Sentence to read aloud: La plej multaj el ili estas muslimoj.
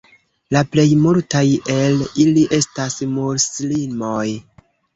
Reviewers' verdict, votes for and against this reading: rejected, 1, 2